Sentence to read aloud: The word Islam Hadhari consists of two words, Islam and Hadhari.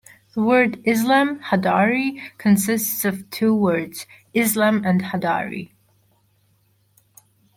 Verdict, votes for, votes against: accepted, 2, 0